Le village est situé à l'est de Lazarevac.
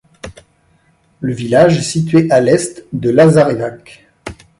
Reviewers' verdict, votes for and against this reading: rejected, 0, 2